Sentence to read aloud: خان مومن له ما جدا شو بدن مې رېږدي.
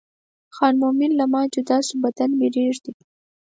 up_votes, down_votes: 4, 2